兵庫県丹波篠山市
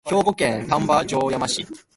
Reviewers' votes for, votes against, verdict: 0, 2, rejected